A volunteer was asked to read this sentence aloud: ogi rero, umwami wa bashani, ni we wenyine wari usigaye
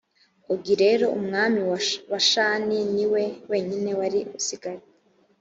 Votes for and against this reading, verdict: 1, 2, rejected